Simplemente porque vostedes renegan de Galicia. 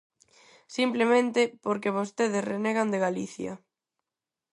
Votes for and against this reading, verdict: 4, 0, accepted